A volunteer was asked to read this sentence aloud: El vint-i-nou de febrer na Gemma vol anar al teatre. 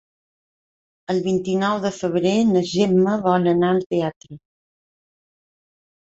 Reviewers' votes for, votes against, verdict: 4, 0, accepted